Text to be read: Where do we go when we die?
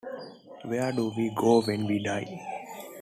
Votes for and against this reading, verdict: 2, 0, accepted